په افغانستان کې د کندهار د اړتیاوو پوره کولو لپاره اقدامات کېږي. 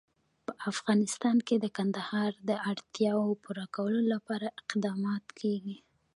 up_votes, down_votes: 2, 1